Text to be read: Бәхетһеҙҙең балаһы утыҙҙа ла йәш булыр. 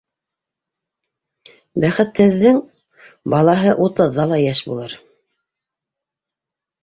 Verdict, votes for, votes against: accepted, 2, 0